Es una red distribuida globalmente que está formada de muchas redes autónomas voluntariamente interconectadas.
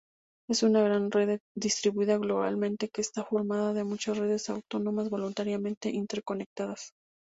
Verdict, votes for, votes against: rejected, 2, 2